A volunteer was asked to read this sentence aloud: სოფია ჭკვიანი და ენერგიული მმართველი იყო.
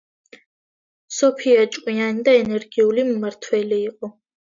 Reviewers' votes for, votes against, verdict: 2, 0, accepted